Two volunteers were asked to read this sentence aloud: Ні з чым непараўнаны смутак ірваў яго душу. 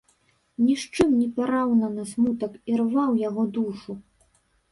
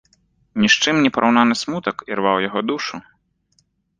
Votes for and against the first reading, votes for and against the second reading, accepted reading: 0, 2, 2, 0, second